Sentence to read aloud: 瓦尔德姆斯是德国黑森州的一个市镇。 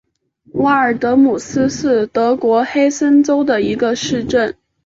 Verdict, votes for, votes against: accepted, 4, 0